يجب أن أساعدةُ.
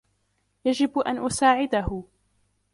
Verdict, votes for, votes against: rejected, 1, 2